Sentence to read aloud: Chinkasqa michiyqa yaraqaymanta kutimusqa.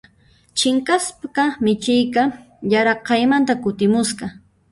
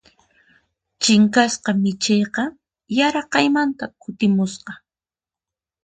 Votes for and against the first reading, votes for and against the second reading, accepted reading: 0, 2, 4, 0, second